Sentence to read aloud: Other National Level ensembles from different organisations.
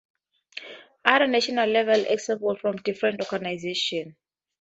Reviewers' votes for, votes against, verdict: 0, 2, rejected